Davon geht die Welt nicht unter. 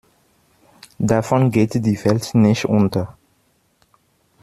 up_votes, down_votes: 0, 2